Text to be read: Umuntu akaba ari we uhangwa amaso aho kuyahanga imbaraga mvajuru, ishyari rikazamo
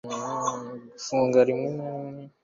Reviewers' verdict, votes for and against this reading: rejected, 0, 2